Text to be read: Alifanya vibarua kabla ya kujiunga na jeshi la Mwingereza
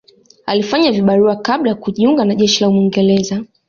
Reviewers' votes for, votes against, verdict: 2, 0, accepted